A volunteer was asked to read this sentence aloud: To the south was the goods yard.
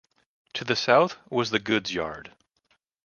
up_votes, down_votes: 2, 0